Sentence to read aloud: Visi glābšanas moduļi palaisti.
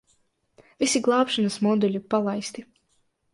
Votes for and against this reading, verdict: 2, 0, accepted